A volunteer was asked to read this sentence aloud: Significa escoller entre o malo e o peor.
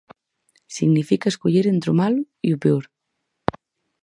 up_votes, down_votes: 2, 2